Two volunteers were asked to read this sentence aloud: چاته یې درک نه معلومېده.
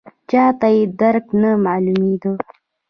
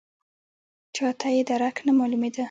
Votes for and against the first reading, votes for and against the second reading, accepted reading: 1, 2, 2, 0, second